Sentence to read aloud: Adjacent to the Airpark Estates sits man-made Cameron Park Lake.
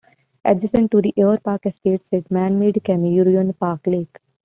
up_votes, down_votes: 1, 2